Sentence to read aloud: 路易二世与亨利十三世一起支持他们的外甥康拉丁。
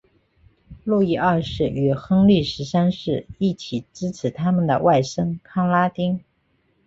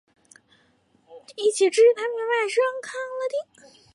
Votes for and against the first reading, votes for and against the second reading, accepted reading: 2, 1, 1, 3, first